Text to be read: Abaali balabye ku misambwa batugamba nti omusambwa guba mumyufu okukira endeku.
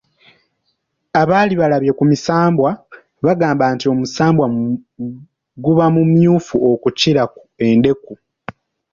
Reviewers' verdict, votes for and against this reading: accepted, 3, 0